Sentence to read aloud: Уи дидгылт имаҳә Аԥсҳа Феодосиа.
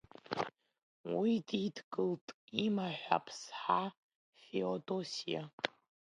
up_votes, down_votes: 1, 2